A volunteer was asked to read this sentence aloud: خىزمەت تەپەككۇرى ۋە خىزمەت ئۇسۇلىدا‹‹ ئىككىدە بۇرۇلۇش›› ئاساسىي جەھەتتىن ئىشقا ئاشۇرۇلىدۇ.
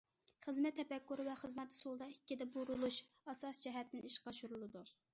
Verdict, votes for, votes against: rejected, 1, 2